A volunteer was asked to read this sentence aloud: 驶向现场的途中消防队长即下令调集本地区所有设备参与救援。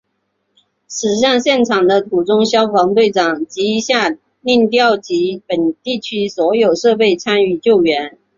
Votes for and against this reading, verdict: 6, 0, accepted